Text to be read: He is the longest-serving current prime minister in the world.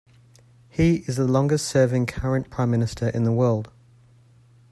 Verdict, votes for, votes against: accepted, 2, 0